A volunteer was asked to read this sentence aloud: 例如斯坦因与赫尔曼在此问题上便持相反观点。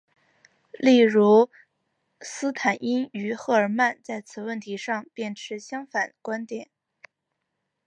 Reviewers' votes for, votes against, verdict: 3, 0, accepted